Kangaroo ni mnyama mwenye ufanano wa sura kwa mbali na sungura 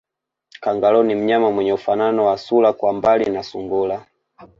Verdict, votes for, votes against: rejected, 1, 2